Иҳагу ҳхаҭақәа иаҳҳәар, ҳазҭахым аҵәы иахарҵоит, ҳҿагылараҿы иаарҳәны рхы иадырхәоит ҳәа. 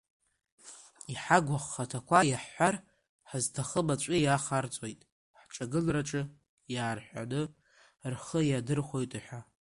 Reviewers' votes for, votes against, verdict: 1, 2, rejected